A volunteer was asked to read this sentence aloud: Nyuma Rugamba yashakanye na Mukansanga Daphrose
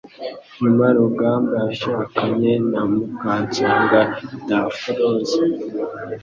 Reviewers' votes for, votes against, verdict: 2, 0, accepted